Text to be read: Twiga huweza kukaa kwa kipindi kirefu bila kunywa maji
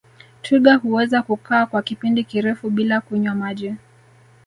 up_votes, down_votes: 0, 2